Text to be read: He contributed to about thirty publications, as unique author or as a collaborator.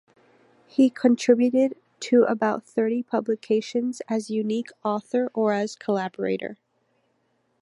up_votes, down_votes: 0, 3